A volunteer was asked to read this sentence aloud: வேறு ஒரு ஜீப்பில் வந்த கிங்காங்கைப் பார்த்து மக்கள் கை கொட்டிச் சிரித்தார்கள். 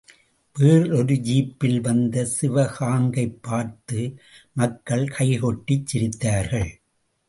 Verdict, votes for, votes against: rejected, 0, 2